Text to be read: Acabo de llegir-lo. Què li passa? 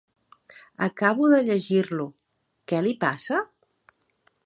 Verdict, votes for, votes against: accepted, 3, 0